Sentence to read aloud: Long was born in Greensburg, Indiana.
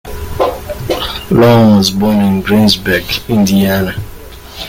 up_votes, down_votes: 3, 2